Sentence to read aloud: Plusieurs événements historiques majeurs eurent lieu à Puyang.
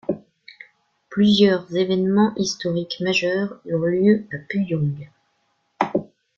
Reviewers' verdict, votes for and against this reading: accepted, 2, 0